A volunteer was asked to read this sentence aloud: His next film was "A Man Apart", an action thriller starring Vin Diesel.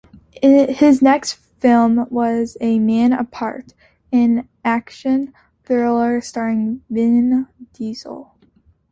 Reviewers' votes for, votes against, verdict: 2, 0, accepted